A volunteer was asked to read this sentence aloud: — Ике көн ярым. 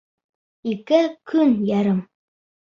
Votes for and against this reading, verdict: 2, 0, accepted